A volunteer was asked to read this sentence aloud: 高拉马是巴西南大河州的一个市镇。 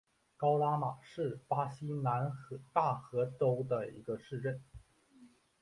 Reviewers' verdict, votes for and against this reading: rejected, 1, 2